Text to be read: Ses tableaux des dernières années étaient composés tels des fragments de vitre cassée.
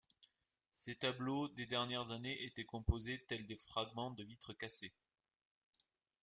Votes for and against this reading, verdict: 2, 0, accepted